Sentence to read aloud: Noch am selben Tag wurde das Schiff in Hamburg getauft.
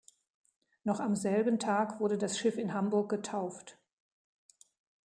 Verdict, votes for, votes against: accepted, 2, 0